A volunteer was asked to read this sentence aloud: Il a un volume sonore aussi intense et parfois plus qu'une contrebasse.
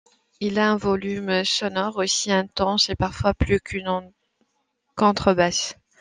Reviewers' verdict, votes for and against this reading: accepted, 2, 0